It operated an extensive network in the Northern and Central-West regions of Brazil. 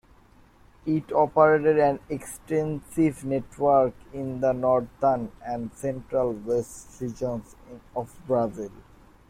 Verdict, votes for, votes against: accepted, 2, 1